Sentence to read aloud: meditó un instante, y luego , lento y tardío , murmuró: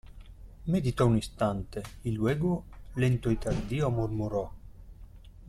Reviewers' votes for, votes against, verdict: 2, 0, accepted